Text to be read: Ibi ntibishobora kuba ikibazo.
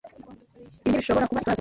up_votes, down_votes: 2, 3